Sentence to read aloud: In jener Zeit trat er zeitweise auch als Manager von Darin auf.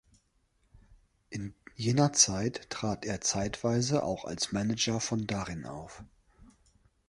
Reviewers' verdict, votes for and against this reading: accepted, 2, 0